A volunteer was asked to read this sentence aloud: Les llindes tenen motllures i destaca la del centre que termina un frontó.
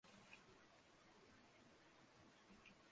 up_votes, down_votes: 0, 2